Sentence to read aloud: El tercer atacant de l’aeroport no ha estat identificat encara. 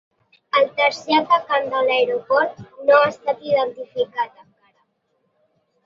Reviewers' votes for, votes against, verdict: 4, 1, accepted